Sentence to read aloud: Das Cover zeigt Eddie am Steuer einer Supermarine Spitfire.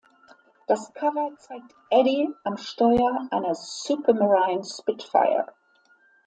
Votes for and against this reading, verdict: 0, 2, rejected